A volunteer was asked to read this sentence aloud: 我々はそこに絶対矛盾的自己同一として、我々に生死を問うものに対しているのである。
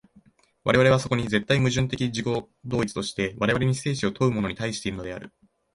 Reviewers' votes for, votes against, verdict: 2, 1, accepted